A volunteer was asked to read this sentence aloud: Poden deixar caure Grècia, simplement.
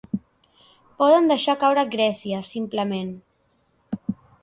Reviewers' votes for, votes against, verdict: 2, 0, accepted